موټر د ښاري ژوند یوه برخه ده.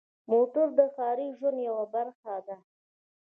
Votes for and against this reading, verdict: 2, 0, accepted